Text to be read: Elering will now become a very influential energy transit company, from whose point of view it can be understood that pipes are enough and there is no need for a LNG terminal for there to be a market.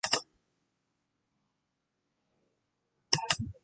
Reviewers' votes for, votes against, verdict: 0, 2, rejected